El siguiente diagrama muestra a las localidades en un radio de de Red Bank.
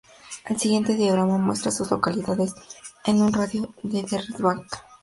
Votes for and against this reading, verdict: 2, 0, accepted